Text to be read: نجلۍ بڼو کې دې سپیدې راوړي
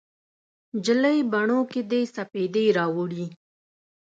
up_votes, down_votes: 2, 0